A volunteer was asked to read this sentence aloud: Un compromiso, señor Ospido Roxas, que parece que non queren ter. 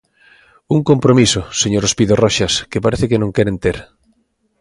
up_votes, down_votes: 2, 0